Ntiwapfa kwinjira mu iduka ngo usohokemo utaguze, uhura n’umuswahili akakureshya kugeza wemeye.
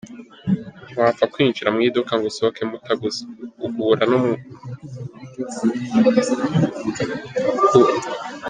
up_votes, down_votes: 0, 3